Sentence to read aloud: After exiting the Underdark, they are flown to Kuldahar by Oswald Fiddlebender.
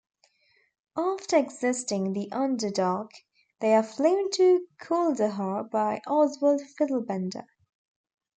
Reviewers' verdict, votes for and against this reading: rejected, 1, 2